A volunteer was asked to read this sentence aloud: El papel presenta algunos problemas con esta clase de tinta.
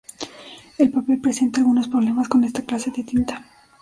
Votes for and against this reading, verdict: 0, 2, rejected